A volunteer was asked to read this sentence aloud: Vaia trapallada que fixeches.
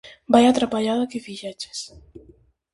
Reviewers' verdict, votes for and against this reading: accepted, 4, 0